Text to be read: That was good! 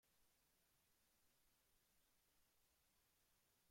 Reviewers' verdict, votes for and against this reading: rejected, 0, 3